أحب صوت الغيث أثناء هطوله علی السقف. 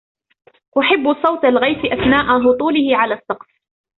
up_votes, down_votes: 2, 0